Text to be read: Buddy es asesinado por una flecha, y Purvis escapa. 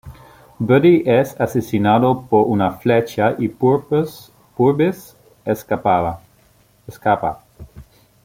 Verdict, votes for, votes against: rejected, 1, 2